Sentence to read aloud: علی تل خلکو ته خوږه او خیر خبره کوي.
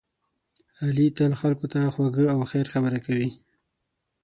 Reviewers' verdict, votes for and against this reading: accepted, 6, 0